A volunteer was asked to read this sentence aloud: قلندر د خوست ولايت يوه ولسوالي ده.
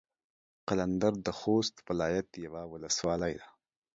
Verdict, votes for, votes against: accepted, 2, 0